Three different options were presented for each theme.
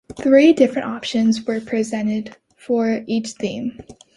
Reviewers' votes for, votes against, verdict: 2, 0, accepted